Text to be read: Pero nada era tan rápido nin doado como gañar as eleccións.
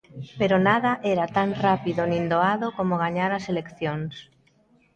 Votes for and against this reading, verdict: 1, 2, rejected